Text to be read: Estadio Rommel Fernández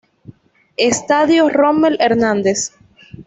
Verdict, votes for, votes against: rejected, 1, 2